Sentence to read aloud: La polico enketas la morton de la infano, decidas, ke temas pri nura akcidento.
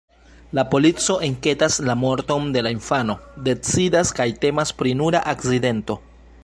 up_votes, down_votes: 2, 1